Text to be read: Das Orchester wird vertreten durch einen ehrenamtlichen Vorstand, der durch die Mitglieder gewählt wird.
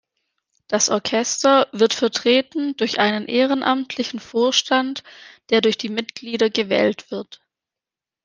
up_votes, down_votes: 1, 2